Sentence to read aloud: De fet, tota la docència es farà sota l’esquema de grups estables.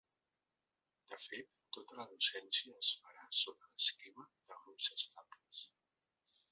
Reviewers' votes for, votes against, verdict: 2, 0, accepted